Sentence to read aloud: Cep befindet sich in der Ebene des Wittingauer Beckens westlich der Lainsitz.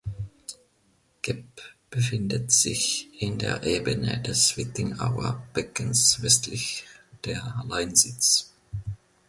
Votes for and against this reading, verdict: 1, 2, rejected